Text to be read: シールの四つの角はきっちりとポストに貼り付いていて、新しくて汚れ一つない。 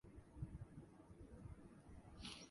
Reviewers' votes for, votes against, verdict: 0, 3, rejected